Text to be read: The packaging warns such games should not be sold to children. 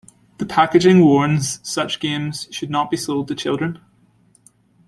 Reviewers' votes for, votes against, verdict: 3, 0, accepted